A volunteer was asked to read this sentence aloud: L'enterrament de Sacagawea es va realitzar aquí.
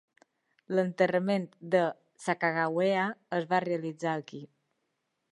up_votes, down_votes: 2, 0